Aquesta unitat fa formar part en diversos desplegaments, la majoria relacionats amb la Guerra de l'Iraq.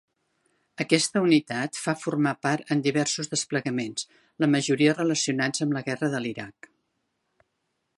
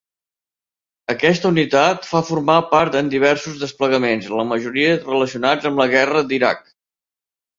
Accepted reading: first